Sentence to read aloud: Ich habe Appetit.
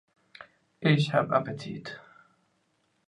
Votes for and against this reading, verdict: 1, 2, rejected